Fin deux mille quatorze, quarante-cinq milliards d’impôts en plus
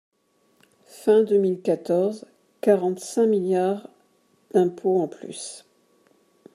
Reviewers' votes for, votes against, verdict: 2, 1, accepted